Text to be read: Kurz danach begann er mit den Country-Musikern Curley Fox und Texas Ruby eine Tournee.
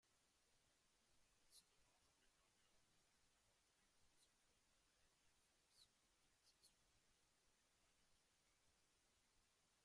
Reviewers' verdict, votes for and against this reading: rejected, 0, 2